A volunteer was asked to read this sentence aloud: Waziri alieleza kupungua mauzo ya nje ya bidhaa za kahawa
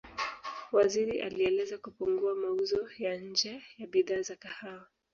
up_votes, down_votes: 1, 3